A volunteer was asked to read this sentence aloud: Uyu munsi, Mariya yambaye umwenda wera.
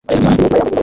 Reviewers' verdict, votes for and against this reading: rejected, 0, 2